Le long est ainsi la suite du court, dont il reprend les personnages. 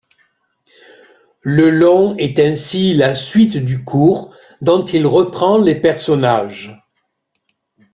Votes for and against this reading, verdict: 0, 2, rejected